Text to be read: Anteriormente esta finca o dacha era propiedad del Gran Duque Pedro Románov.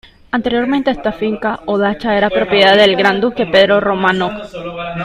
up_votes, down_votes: 2, 1